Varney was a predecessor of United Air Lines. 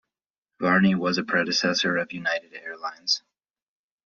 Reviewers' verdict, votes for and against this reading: accepted, 2, 0